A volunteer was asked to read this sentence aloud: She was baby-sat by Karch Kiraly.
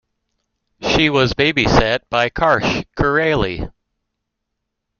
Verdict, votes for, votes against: rejected, 1, 2